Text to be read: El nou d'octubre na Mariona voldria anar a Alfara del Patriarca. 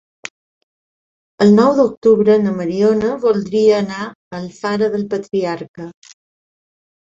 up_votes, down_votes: 3, 0